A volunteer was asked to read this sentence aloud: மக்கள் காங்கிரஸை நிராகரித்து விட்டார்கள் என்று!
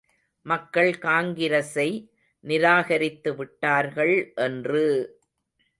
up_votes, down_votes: 2, 0